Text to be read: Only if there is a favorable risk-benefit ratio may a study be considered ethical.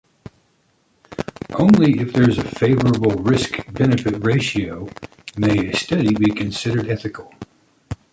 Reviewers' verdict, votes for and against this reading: accepted, 3, 0